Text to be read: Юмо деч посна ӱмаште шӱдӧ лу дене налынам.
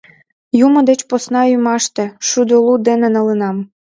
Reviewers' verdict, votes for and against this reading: rejected, 1, 2